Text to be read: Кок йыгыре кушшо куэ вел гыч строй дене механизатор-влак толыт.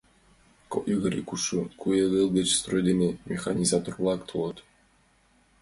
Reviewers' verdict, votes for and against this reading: accepted, 2, 0